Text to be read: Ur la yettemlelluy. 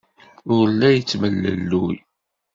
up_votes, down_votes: 2, 0